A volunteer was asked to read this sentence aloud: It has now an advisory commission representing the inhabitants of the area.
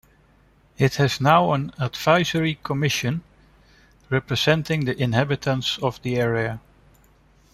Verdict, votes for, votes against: accepted, 2, 1